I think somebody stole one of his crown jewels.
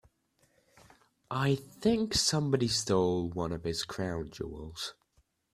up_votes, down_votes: 2, 0